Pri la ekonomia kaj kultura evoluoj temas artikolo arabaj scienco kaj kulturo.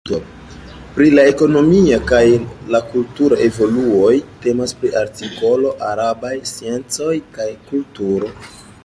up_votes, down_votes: 2, 4